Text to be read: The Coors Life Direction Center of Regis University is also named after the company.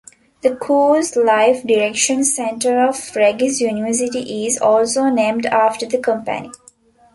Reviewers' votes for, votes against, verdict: 1, 2, rejected